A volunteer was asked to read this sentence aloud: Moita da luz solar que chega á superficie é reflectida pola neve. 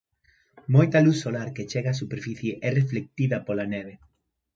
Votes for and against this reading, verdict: 0, 2, rejected